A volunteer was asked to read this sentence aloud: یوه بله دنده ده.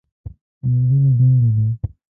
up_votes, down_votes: 1, 2